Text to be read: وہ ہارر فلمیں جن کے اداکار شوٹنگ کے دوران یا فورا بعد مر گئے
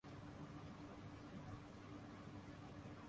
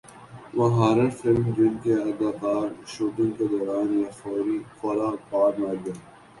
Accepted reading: second